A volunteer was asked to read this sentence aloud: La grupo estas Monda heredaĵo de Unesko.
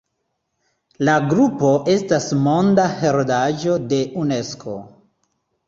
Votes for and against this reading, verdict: 2, 0, accepted